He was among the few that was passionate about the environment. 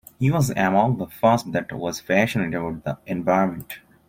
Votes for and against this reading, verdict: 0, 2, rejected